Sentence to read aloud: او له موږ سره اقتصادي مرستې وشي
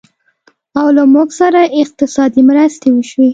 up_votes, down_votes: 2, 0